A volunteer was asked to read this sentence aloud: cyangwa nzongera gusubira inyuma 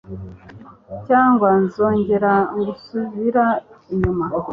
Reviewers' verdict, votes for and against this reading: accepted, 2, 0